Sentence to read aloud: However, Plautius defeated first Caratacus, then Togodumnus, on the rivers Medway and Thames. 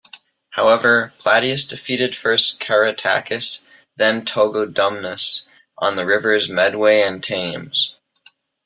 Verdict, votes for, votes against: rejected, 1, 2